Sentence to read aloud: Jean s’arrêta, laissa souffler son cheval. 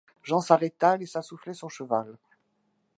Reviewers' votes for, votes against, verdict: 2, 0, accepted